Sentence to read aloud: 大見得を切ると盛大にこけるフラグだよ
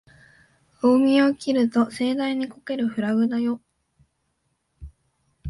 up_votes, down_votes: 2, 1